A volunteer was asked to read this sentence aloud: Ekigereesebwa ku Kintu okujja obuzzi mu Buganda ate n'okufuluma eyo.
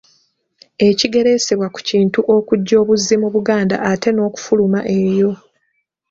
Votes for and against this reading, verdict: 3, 1, accepted